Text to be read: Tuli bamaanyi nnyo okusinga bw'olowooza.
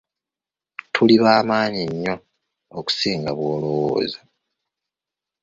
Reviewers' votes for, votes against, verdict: 2, 0, accepted